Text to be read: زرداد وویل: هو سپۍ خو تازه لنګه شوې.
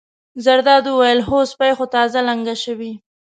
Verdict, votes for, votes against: rejected, 1, 2